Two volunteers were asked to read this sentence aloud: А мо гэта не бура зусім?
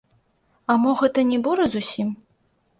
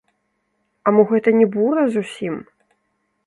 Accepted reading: first